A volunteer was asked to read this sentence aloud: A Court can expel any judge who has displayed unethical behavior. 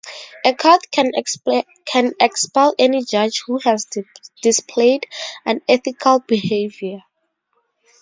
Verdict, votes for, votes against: accepted, 2, 0